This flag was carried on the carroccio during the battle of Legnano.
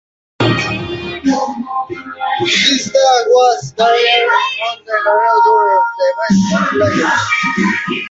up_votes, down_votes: 1, 2